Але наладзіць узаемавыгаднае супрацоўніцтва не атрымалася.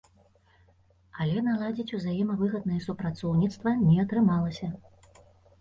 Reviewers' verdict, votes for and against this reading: accepted, 2, 0